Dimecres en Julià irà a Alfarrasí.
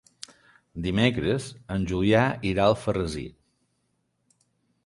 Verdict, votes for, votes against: accepted, 2, 0